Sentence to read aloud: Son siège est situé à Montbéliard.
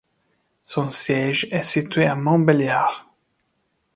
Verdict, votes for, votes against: rejected, 1, 2